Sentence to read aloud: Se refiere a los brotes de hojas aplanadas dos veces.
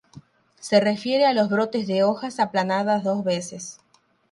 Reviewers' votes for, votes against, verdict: 0, 3, rejected